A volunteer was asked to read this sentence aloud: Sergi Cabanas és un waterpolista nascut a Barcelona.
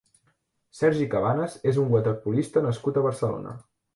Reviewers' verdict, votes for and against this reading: accepted, 2, 0